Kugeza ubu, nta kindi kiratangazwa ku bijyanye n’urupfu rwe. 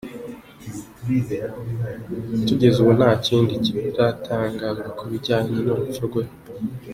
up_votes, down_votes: 2, 0